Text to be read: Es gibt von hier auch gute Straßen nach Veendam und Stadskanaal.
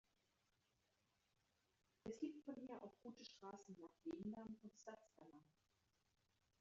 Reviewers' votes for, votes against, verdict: 0, 2, rejected